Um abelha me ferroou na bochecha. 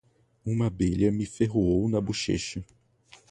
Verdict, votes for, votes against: accepted, 4, 0